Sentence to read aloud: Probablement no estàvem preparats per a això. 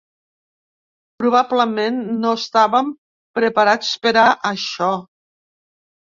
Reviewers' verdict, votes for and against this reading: accepted, 3, 0